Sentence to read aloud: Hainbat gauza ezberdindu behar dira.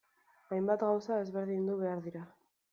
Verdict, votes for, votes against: accepted, 2, 0